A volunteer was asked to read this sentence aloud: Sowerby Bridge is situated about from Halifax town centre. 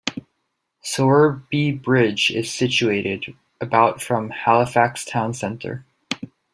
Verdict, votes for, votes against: accepted, 2, 1